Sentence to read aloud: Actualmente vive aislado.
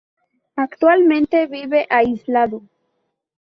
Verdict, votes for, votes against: accepted, 2, 0